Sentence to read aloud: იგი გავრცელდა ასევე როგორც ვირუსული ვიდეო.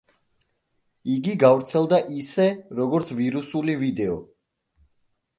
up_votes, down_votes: 0, 2